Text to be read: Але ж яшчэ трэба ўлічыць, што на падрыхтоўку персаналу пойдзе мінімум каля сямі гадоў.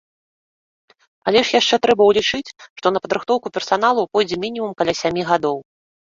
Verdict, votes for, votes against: accepted, 2, 0